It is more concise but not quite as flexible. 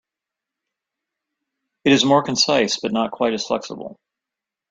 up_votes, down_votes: 3, 0